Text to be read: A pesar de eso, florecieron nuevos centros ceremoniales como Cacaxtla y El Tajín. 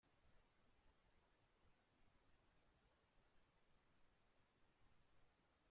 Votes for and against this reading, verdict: 0, 2, rejected